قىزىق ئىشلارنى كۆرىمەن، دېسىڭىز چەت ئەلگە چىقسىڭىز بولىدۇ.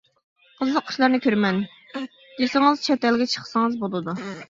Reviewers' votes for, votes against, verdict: 2, 1, accepted